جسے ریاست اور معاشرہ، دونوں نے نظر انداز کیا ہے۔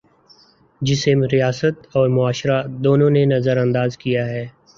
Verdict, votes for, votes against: accepted, 2, 1